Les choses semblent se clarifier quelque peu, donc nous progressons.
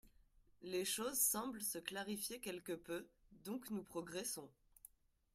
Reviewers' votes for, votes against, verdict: 0, 2, rejected